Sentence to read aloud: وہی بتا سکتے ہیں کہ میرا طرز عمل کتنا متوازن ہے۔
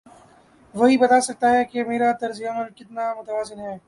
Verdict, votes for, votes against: rejected, 1, 2